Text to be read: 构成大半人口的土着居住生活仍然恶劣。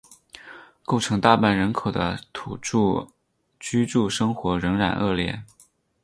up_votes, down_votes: 8, 0